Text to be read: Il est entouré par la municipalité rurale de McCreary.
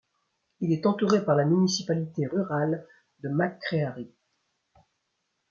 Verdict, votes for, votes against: accepted, 2, 0